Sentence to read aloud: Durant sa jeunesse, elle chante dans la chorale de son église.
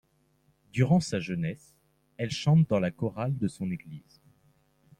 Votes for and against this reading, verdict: 2, 0, accepted